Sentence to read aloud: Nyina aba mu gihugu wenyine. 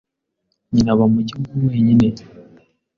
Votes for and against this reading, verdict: 2, 0, accepted